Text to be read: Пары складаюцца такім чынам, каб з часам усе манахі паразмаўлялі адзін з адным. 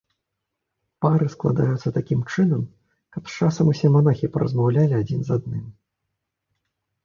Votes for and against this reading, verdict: 2, 0, accepted